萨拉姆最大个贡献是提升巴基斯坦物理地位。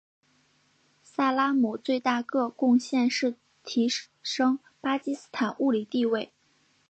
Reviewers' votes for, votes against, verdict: 2, 0, accepted